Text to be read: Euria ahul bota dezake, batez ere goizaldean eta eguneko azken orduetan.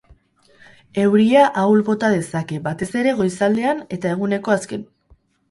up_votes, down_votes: 0, 6